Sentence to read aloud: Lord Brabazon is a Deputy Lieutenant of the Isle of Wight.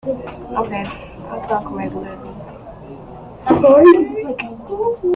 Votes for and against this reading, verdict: 0, 2, rejected